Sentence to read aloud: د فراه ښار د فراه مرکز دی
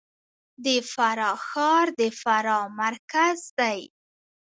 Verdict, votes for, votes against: accepted, 2, 0